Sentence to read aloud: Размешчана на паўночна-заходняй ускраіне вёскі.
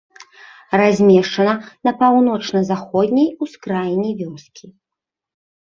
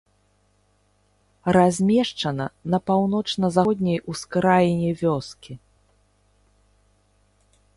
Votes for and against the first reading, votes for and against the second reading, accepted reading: 2, 0, 1, 2, first